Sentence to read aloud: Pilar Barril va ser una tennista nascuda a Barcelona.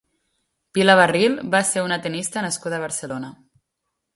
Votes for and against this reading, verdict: 2, 0, accepted